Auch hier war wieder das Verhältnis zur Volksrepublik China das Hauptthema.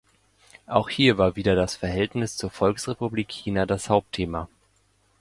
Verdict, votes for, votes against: accepted, 2, 0